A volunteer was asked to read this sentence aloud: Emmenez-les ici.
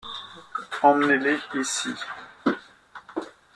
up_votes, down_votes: 1, 2